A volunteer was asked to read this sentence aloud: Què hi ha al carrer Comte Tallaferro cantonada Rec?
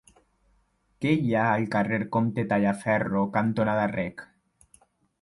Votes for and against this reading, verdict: 2, 0, accepted